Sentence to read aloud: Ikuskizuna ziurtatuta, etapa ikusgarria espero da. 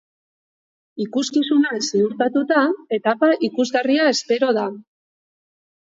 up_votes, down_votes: 2, 0